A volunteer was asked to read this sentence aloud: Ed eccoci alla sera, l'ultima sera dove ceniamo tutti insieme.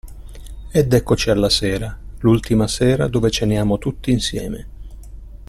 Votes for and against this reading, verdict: 2, 0, accepted